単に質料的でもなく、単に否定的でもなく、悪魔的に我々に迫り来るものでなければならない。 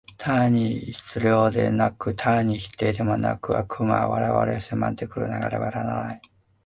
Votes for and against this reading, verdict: 0, 2, rejected